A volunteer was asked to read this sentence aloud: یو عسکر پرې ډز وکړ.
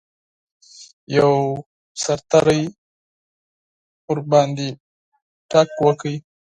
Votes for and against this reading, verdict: 2, 4, rejected